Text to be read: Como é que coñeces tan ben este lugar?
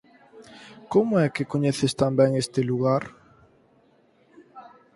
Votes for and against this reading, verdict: 4, 0, accepted